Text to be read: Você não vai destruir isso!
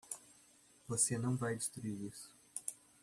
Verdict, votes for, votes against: accepted, 2, 0